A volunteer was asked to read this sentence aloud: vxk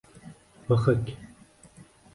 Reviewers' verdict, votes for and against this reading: rejected, 0, 2